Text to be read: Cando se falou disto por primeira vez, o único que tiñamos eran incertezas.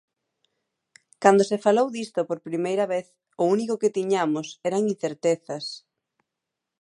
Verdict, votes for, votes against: accepted, 2, 0